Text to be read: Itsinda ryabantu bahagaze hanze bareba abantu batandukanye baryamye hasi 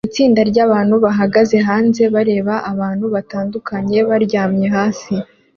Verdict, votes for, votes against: accepted, 2, 0